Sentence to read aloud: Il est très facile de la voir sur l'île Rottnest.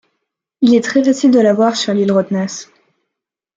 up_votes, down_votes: 2, 0